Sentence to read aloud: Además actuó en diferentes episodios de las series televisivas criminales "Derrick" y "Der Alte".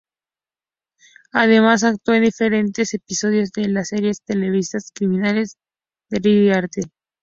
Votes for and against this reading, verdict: 2, 0, accepted